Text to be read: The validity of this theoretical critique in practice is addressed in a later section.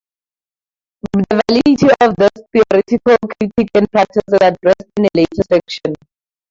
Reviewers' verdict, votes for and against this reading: accepted, 2, 0